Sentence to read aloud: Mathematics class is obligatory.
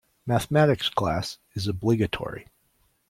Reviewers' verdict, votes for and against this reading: accepted, 2, 0